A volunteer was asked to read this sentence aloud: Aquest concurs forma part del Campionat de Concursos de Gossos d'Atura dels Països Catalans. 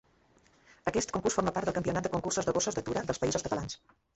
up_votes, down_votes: 2, 1